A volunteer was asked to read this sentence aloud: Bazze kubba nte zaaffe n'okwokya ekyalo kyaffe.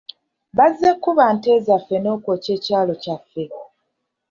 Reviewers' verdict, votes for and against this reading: rejected, 1, 2